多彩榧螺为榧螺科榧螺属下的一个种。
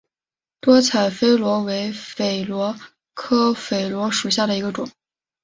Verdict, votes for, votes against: accepted, 3, 0